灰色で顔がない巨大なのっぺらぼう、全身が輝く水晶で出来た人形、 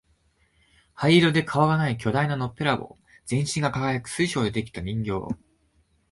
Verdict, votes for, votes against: accepted, 2, 0